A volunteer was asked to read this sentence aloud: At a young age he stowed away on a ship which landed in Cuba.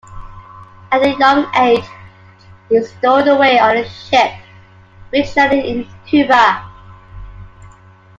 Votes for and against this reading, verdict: 2, 0, accepted